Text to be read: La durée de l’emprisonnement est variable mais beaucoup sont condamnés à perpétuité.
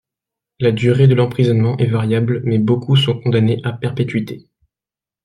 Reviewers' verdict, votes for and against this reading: accepted, 2, 0